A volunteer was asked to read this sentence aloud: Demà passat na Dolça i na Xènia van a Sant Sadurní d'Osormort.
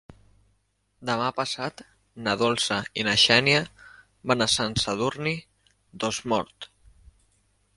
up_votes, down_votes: 2, 0